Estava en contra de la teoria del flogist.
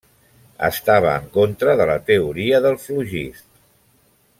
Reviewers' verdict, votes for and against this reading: accepted, 3, 0